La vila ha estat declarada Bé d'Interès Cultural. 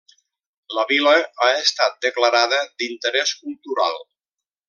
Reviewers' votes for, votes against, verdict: 0, 2, rejected